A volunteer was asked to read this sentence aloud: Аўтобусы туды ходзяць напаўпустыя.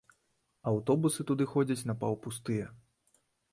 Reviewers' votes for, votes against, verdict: 2, 0, accepted